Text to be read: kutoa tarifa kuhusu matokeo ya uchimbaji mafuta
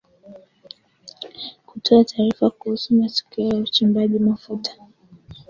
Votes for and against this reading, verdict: 4, 2, accepted